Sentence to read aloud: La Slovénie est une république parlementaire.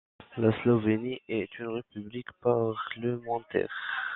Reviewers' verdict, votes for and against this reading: rejected, 0, 2